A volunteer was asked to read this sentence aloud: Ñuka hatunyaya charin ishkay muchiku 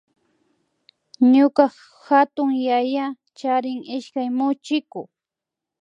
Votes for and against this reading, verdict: 0, 2, rejected